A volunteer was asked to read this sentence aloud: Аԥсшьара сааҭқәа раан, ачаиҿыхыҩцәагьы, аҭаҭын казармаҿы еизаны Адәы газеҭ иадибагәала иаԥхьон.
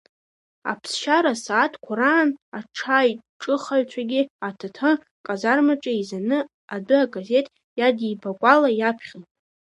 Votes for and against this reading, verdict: 1, 2, rejected